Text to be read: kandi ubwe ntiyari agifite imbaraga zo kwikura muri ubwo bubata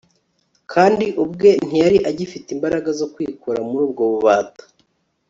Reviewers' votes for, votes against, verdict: 3, 0, accepted